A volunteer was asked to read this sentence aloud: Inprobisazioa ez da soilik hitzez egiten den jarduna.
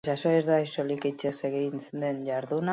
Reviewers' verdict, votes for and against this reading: accepted, 2, 0